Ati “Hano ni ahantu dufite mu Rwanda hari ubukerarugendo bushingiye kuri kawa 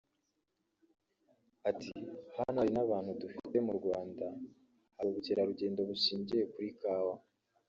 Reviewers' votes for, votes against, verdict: 0, 2, rejected